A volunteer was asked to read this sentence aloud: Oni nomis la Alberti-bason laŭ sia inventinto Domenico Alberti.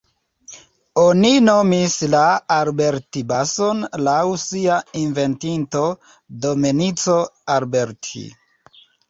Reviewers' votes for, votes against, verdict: 0, 2, rejected